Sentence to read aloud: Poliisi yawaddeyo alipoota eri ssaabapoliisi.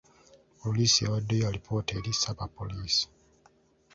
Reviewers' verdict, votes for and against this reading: rejected, 0, 2